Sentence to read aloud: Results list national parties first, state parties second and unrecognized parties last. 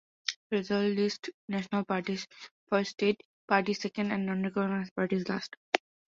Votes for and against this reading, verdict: 0, 2, rejected